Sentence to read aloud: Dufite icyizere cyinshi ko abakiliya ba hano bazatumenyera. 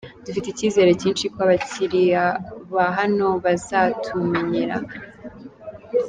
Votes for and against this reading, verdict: 2, 0, accepted